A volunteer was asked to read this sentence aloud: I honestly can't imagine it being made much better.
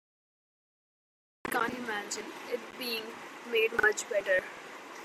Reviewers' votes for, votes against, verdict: 0, 2, rejected